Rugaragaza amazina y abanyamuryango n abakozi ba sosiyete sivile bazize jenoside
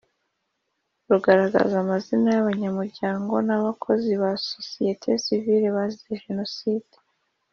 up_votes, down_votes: 2, 0